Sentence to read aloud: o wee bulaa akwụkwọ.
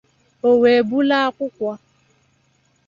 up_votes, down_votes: 2, 0